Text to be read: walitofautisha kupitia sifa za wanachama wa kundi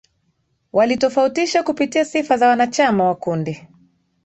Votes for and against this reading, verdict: 2, 0, accepted